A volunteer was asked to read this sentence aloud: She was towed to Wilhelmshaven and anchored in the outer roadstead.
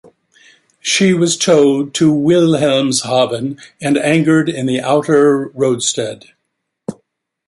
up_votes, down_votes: 1, 3